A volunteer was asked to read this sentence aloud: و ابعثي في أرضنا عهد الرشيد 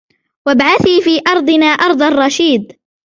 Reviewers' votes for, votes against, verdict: 0, 2, rejected